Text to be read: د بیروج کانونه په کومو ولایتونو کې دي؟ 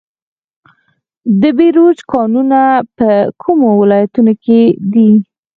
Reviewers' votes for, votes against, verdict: 2, 4, rejected